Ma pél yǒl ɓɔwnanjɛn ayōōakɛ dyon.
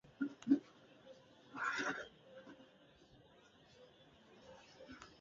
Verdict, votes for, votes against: rejected, 1, 2